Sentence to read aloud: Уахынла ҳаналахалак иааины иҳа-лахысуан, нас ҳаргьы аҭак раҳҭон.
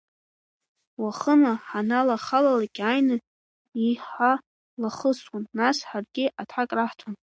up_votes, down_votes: 0, 2